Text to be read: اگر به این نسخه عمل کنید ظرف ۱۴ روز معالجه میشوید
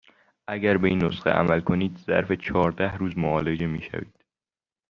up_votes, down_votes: 0, 2